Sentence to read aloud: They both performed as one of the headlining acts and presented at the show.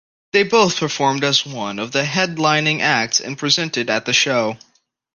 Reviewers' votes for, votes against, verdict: 2, 0, accepted